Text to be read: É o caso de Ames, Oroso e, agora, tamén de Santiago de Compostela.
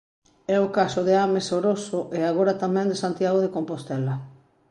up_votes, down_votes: 2, 0